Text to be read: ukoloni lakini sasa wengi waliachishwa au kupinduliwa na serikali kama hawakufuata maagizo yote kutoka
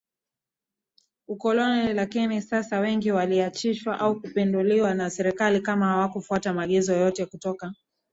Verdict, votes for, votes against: accepted, 2, 0